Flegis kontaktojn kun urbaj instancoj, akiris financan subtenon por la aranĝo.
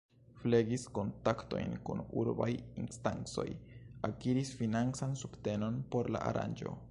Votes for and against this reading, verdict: 1, 2, rejected